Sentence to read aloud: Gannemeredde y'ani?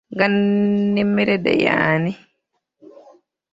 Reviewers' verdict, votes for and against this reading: rejected, 0, 2